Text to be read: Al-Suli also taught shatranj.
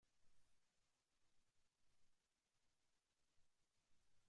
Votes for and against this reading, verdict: 0, 2, rejected